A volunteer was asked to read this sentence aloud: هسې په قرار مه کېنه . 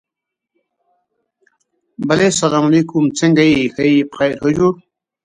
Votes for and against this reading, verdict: 0, 2, rejected